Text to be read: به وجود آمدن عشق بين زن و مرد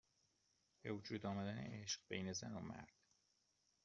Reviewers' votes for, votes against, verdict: 1, 2, rejected